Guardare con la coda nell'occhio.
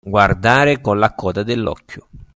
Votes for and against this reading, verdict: 2, 0, accepted